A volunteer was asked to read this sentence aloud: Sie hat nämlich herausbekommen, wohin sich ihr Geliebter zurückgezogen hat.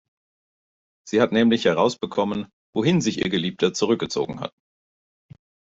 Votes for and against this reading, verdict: 2, 0, accepted